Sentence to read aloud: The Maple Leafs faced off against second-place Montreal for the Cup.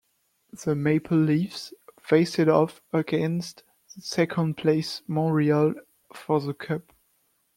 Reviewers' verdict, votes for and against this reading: rejected, 0, 2